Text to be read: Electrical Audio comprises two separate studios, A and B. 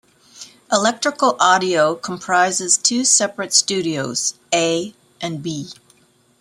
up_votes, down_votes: 2, 1